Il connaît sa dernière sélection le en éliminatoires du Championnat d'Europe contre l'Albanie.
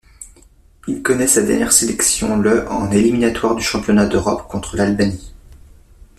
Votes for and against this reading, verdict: 2, 0, accepted